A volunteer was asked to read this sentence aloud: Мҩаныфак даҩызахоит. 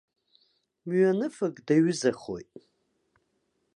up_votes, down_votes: 2, 0